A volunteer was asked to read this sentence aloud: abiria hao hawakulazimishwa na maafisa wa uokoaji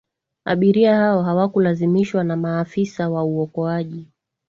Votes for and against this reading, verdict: 2, 0, accepted